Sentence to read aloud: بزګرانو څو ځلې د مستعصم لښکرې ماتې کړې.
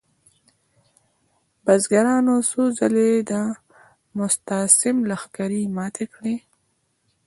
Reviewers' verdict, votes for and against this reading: accepted, 2, 0